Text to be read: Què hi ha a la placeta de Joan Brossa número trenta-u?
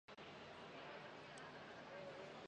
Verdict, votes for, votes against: rejected, 0, 2